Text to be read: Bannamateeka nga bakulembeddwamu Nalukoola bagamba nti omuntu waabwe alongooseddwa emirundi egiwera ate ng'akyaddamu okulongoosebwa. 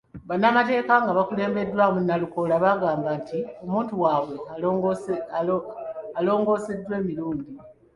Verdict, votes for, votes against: rejected, 0, 2